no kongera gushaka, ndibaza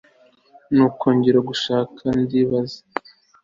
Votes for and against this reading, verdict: 2, 0, accepted